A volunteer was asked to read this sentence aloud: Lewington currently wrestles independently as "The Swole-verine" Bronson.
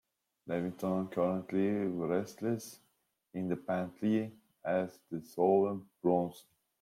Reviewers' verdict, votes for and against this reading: rejected, 1, 2